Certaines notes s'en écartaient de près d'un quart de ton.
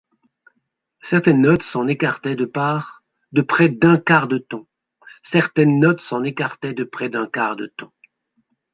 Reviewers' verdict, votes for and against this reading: rejected, 0, 2